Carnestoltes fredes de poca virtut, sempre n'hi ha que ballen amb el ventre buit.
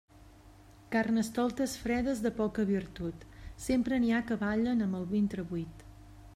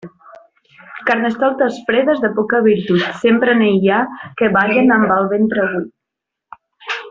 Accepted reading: first